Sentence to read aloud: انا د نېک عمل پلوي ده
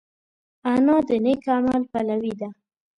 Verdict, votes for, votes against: accepted, 2, 0